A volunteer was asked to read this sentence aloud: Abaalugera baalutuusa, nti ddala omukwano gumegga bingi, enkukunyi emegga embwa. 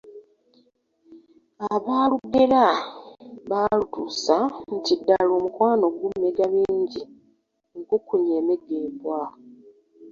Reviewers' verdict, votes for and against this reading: rejected, 0, 2